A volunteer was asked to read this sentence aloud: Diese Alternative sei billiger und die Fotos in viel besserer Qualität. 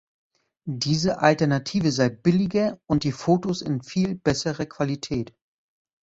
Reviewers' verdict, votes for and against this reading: accepted, 2, 0